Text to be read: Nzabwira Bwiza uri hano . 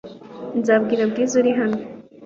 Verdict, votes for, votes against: accepted, 2, 0